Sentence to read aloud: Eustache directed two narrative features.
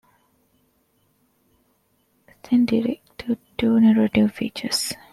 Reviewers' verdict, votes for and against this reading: rejected, 1, 2